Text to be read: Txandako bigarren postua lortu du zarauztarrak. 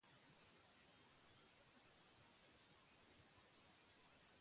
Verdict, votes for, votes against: rejected, 0, 10